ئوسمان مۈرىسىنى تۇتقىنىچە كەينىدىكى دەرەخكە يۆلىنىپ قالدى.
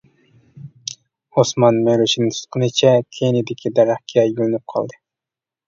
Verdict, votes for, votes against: rejected, 1, 2